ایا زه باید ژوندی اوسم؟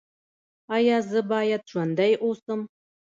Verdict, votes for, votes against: accepted, 2, 0